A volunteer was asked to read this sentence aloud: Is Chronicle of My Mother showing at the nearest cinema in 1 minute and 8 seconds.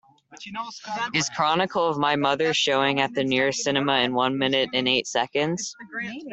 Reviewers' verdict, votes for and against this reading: rejected, 0, 2